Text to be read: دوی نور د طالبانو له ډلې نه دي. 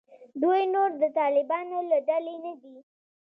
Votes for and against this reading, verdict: 2, 0, accepted